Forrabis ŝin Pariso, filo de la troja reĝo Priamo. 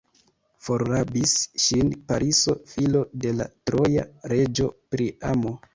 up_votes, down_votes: 1, 2